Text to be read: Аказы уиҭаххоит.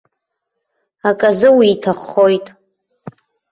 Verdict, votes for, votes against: accepted, 2, 0